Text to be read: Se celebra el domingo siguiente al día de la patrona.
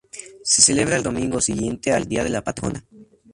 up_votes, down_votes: 0, 2